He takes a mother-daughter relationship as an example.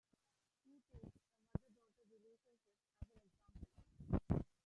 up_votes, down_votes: 0, 2